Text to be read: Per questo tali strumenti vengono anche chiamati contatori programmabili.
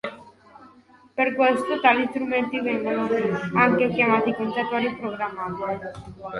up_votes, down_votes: 0, 2